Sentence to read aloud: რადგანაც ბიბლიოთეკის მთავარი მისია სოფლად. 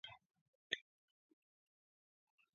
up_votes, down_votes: 0, 2